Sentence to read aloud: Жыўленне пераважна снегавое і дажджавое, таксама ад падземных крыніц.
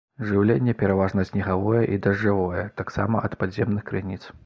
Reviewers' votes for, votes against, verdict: 2, 1, accepted